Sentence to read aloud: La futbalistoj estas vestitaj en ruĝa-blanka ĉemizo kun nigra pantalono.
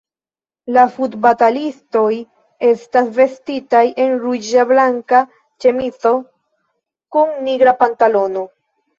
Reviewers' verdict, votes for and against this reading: rejected, 1, 2